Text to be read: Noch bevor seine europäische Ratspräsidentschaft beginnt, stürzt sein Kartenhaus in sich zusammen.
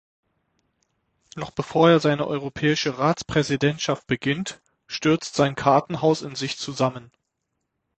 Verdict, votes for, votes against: rejected, 0, 6